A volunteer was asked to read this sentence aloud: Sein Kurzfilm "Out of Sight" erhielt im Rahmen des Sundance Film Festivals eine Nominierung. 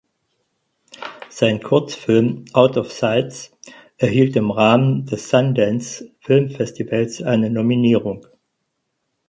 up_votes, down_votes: 2, 4